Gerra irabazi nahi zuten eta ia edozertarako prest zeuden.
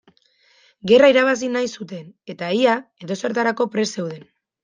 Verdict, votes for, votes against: accepted, 2, 0